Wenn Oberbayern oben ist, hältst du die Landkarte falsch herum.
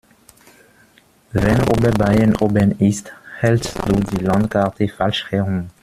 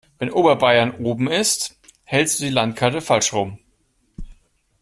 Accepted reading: first